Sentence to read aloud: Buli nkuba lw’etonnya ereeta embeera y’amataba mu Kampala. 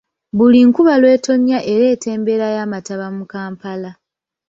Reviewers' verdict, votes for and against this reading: accepted, 2, 1